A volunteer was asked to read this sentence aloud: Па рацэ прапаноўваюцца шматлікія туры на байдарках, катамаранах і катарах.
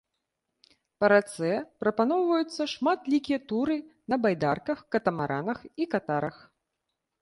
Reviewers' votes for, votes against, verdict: 2, 1, accepted